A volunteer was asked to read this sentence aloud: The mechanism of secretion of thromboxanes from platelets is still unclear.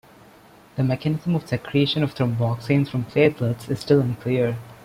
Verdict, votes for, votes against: rejected, 1, 2